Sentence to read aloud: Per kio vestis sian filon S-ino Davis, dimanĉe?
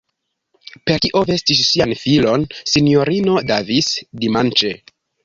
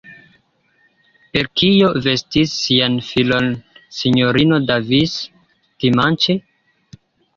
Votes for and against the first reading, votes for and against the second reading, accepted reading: 1, 2, 2, 0, second